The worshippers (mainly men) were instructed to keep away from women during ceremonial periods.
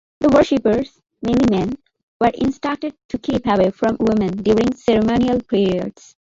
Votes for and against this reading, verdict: 3, 1, accepted